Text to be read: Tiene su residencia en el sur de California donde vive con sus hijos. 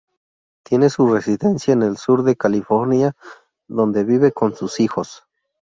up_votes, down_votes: 2, 0